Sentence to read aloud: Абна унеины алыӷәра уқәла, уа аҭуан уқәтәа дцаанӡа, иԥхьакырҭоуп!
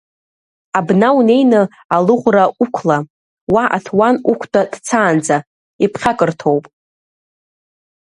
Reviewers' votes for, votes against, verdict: 2, 0, accepted